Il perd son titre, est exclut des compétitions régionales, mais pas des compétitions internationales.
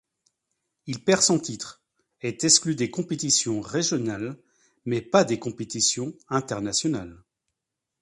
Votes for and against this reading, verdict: 2, 0, accepted